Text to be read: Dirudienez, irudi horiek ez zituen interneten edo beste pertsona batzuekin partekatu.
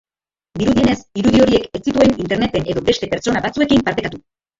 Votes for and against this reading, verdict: 0, 2, rejected